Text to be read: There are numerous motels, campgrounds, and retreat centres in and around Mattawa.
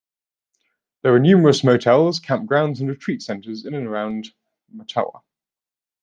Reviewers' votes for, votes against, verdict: 2, 0, accepted